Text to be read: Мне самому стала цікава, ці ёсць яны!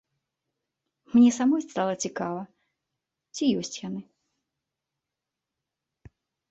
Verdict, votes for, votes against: rejected, 0, 2